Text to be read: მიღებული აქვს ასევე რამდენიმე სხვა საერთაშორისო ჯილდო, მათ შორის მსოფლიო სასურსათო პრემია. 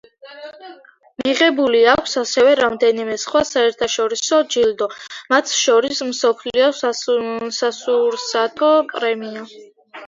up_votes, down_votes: 0, 2